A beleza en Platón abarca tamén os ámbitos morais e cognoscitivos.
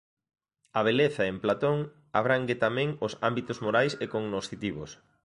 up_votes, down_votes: 0, 2